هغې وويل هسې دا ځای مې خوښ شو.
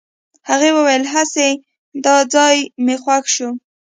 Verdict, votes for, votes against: accepted, 2, 0